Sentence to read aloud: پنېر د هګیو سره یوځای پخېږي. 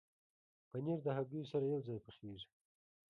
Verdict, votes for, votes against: accepted, 3, 2